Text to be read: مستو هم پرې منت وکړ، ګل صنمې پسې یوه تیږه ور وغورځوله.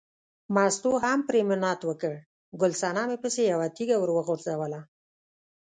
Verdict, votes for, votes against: accepted, 2, 0